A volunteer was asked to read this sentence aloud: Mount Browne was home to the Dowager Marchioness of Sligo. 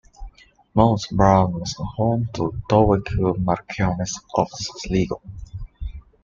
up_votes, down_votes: 2, 0